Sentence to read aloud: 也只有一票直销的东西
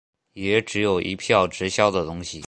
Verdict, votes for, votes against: accepted, 2, 0